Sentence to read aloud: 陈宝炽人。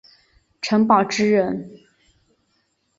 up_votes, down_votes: 9, 0